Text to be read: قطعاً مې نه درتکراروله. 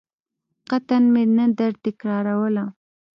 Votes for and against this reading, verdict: 2, 0, accepted